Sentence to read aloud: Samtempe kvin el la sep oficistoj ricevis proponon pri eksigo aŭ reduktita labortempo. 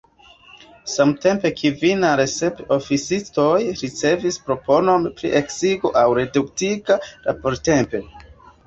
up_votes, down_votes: 2, 0